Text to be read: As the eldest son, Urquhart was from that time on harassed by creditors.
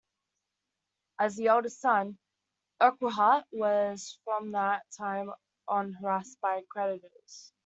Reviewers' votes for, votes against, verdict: 1, 2, rejected